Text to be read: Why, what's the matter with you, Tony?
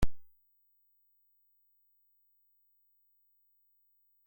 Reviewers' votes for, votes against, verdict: 0, 2, rejected